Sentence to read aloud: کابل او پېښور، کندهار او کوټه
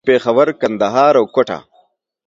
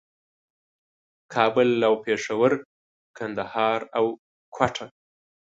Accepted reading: second